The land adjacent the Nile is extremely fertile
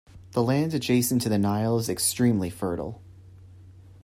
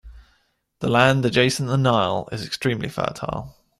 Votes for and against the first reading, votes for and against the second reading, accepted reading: 1, 2, 2, 0, second